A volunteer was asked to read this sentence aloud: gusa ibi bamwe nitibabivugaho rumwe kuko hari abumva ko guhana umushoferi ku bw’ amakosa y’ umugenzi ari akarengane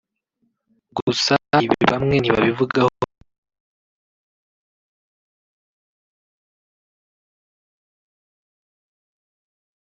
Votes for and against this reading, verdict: 0, 2, rejected